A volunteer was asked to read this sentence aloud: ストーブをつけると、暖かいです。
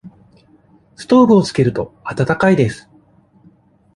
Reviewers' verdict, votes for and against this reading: accepted, 2, 0